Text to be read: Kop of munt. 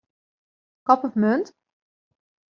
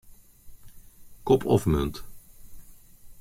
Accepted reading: first